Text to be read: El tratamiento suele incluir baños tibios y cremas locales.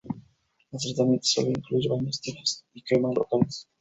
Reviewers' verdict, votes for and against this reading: accepted, 4, 0